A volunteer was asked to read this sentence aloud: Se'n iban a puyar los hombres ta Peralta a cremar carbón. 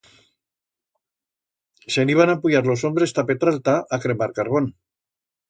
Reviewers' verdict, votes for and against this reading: rejected, 1, 2